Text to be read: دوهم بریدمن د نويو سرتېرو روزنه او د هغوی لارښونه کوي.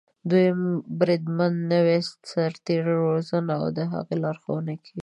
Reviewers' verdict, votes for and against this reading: rejected, 1, 2